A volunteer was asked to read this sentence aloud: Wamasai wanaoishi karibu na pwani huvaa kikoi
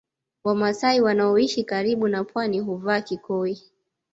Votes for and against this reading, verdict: 2, 0, accepted